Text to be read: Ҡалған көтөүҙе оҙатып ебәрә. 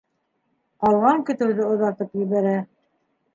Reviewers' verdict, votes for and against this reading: accepted, 2, 0